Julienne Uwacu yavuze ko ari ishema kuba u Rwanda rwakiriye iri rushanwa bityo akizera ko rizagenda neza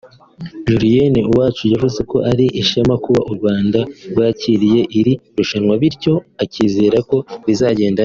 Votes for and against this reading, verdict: 0, 2, rejected